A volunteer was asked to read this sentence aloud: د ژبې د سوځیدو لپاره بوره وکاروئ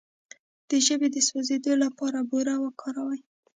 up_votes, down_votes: 1, 2